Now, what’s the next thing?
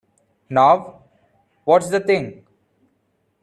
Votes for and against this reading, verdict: 0, 2, rejected